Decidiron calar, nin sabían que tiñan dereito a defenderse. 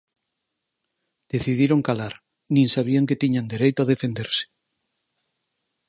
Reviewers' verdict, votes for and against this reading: accepted, 4, 0